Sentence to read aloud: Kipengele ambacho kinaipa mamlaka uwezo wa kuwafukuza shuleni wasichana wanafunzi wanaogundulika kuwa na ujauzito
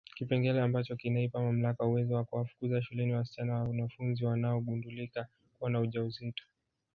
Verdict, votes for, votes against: accepted, 4, 3